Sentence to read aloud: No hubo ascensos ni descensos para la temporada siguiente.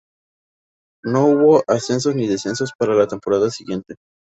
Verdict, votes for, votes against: rejected, 2, 2